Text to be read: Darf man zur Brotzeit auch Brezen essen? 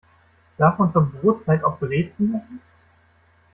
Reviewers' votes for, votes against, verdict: 2, 0, accepted